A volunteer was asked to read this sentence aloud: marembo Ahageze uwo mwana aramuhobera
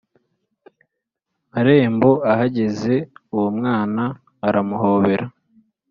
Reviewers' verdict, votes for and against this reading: accepted, 2, 0